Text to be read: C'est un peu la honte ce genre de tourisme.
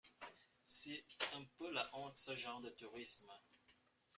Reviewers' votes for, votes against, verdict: 2, 1, accepted